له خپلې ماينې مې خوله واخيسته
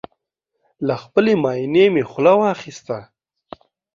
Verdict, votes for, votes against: accepted, 2, 0